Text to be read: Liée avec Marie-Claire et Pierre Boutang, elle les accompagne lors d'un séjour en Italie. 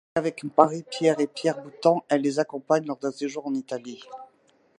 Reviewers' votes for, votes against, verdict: 1, 2, rejected